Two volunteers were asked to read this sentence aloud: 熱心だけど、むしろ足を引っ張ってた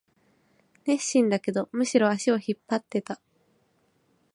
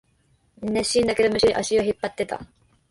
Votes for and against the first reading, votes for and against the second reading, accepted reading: 2, 0, 1, 2, first